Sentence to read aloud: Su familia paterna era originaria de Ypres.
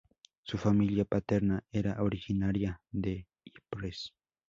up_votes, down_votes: 2, 0